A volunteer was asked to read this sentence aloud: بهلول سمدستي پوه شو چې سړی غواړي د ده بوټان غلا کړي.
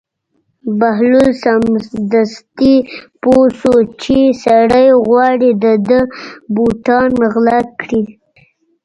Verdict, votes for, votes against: rejected, 0, 2